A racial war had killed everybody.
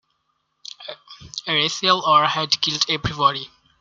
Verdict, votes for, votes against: rejected, 1, 2